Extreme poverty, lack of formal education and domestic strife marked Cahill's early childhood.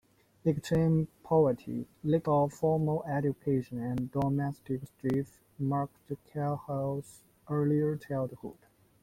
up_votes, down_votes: 0, 2